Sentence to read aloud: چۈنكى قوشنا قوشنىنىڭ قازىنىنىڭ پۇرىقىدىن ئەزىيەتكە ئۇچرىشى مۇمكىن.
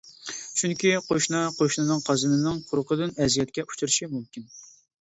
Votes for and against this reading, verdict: 2, 0, accepted